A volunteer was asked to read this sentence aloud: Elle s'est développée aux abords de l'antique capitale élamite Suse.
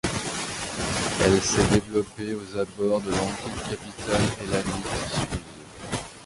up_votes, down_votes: 0, 2